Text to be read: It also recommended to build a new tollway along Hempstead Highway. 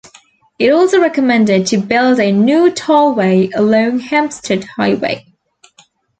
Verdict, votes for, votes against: accepted, 2, 0